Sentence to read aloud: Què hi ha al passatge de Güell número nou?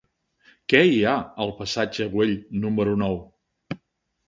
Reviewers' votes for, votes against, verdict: 0, 2, rejected